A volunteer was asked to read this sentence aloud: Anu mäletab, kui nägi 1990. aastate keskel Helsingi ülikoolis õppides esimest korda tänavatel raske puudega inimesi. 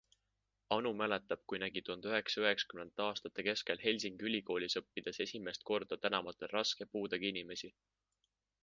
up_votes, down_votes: 0, 2